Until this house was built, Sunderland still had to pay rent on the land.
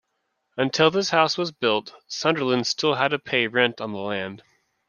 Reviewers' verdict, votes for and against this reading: accepted, 2, 0